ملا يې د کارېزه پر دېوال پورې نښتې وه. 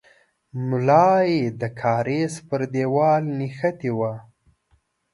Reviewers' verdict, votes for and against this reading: rejected, 0, 2